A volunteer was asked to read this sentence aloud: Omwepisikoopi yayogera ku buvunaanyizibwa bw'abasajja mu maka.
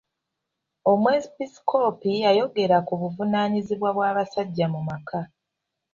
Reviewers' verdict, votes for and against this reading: accepted, 2, 0